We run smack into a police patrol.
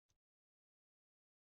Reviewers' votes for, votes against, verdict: 0, 2, rejected